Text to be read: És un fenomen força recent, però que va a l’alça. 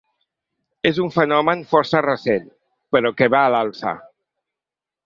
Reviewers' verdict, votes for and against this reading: accepted, 2, 0